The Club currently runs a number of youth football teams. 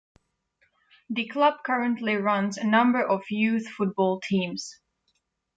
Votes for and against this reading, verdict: 2, 0, accepted